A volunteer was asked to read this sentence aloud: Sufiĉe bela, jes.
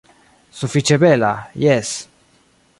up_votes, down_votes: 2, 0